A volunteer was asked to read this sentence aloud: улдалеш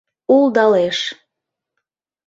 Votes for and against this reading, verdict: 2, 0, accepted